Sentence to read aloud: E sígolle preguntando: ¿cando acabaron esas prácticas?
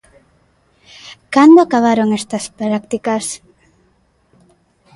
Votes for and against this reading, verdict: 0, 2, rejected